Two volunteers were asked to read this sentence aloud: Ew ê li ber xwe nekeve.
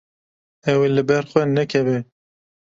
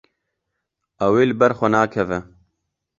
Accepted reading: first